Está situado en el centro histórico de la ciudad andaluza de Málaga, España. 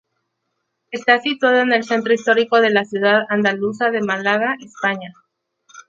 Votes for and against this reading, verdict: 0, 2, rejected